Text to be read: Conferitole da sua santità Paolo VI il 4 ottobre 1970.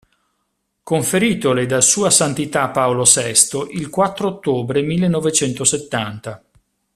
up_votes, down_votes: 0, 2